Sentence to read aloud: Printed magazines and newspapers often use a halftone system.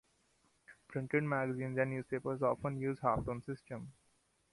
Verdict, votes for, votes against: rejected, 1, 2